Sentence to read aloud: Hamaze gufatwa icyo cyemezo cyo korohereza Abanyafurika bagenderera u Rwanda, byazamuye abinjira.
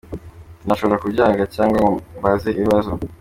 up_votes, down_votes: 0, 2